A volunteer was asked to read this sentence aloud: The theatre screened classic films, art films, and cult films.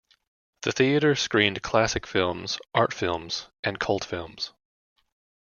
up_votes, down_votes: 1, 2